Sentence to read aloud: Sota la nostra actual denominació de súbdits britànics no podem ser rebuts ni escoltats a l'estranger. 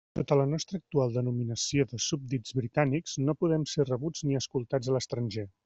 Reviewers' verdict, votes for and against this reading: rejected, 1, 2